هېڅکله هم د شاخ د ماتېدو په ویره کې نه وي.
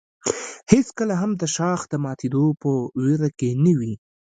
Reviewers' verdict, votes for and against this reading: rejected, 1, 2